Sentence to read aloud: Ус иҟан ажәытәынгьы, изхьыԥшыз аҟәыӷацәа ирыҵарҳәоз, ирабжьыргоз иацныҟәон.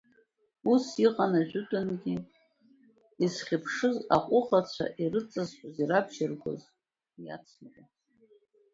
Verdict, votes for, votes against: accepted, 2, 0